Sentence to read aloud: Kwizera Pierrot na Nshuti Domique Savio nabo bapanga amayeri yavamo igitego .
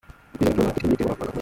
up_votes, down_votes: 0, 2